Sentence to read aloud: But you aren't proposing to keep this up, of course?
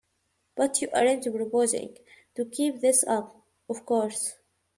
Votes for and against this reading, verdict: 0, 2, rejected